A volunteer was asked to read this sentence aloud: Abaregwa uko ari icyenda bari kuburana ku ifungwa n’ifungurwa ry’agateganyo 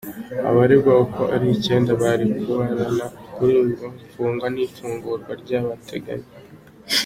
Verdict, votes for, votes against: rejected, 1, 2